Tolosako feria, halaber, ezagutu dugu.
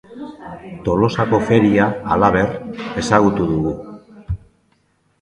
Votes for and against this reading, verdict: 2, 0, accepted